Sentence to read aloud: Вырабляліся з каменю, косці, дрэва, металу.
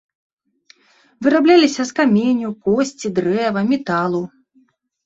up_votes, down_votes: 2, 0